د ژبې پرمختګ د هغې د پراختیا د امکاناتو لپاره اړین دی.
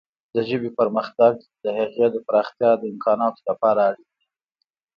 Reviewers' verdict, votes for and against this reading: accepted, 2, 1